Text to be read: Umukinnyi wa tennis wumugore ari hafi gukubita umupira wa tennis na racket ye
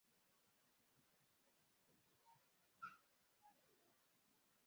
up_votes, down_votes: 0, 2